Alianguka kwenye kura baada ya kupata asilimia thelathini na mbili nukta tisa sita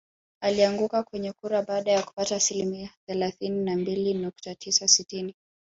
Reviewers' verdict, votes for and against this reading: rejected, 2, 4